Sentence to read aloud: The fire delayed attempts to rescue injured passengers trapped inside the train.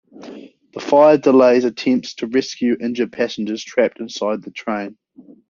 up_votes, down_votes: 2, 0